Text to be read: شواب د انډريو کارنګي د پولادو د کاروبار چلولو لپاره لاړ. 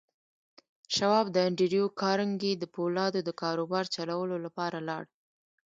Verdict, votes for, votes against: accepted, 2, 0